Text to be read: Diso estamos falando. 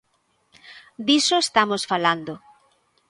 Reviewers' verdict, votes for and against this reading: accepted, 2, 0